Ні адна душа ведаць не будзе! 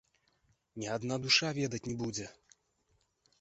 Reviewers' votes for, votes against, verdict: 2, 0, accepted